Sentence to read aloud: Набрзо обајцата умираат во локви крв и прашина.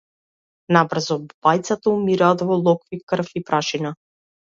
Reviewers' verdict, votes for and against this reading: rejected, 1, 2